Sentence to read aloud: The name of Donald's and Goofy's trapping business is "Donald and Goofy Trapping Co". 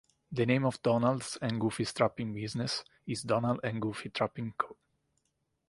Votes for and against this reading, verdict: 1, 2, rejected